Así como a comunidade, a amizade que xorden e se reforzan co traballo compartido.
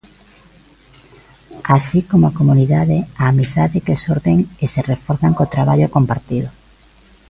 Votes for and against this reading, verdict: 2, 0, accepted